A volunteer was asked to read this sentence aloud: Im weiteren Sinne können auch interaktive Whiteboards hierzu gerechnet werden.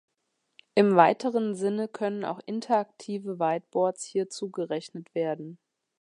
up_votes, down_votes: 2, 0